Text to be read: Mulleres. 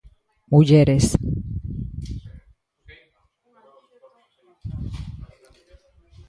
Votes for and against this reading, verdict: 1, 2, rejected